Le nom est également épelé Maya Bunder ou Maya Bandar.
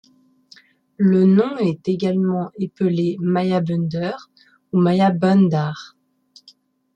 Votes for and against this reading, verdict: 2, 0, accepted